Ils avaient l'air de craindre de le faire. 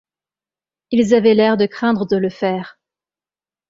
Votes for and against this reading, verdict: 2, 0, accepted